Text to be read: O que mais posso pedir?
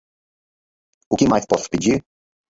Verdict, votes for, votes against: accepted, 4, 0